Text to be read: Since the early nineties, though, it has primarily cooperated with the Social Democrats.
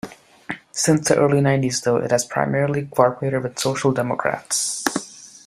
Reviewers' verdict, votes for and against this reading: rejected, 1, 2